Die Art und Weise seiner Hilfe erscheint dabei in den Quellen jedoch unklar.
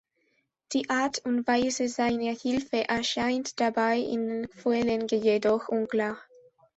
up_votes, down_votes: 1, 2